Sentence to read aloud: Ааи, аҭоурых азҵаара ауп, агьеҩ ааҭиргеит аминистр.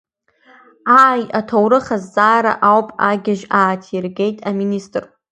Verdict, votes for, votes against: rejected, 0, 2